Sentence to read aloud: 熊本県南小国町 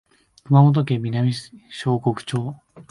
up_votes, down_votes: 2, 1